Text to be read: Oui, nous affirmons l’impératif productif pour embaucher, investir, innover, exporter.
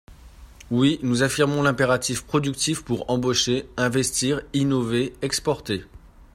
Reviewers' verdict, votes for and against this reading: accepted, 2, 0